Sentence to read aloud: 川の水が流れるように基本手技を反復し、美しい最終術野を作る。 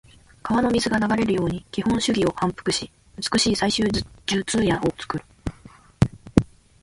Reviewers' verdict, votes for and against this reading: accepted, 2, 1